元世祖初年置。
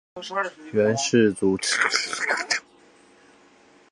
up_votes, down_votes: 1, 4